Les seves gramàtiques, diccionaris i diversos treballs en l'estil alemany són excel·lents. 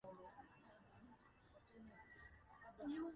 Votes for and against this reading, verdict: 1, 2, rejected